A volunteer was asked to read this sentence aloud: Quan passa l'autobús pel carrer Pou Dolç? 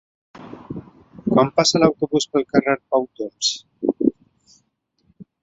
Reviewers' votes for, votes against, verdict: 1, 2, rejected